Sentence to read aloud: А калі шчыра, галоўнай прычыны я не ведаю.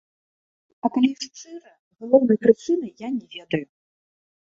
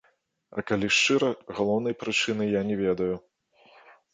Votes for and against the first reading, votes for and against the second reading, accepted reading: 1, 2, 2, 1, second